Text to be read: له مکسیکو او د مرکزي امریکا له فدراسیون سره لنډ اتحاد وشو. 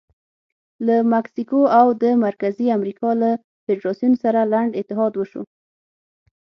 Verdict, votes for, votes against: accepted, 6, 0